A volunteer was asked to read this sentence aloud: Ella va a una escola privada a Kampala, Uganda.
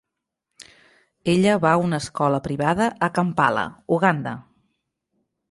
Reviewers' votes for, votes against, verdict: 3, 0, accepted